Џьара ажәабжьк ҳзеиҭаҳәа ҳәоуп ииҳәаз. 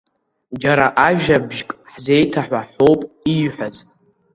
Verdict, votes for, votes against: rejected, 1, 2